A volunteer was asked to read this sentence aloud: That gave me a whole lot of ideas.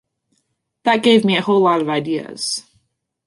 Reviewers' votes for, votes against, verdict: 2, 0, accepted